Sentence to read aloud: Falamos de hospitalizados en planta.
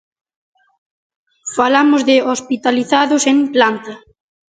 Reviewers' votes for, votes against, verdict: 2, 0, accepted